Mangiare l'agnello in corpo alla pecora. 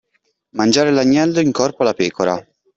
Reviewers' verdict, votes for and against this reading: accepted, 2, 0